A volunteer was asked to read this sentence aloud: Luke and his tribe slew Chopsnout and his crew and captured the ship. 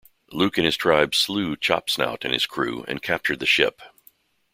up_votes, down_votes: 2, 0